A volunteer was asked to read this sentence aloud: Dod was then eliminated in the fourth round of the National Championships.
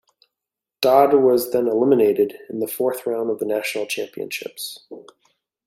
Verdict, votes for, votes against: accepted, 2, 0